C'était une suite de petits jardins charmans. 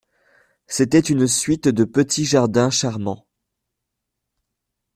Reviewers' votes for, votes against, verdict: 2, 0, accepted